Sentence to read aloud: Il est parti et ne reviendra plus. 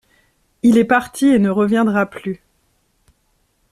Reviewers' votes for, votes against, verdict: 2, 0, accepted